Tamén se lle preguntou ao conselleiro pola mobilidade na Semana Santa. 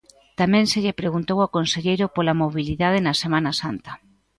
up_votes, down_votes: 2, 0